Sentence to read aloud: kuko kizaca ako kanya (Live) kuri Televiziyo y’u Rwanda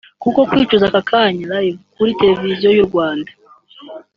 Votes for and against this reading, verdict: 1, 2, rejected